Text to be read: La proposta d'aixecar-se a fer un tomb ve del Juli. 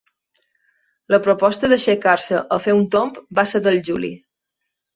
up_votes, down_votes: 1, 2